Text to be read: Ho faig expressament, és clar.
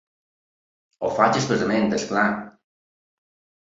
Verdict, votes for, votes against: accepted, 2, 0